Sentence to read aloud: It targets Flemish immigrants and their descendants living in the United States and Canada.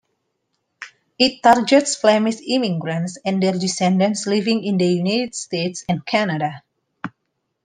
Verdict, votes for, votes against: rejected, 0, 2